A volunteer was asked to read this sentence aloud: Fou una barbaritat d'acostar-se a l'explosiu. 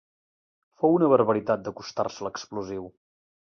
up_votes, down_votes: 2, 0